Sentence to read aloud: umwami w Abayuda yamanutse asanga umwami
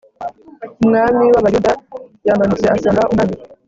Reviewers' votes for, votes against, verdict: 0, 2, rejected